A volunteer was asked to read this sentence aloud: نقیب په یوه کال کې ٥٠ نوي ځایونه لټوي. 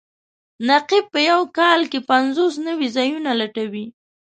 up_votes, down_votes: 0, 2